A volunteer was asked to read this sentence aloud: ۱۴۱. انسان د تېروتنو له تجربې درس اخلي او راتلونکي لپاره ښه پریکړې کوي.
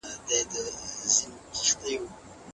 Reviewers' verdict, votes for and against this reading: rejected, 0, 2